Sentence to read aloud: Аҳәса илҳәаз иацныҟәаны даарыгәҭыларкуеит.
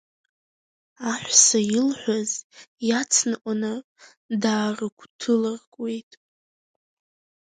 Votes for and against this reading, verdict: 5, 7, rejected